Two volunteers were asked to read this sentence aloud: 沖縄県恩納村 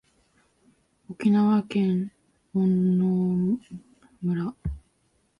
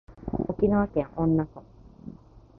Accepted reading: second